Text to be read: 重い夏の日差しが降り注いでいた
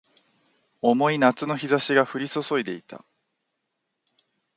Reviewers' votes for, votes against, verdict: 2, 0, accepted